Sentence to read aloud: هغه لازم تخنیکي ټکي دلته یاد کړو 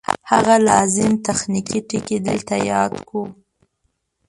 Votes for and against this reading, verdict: 0, 2, rejected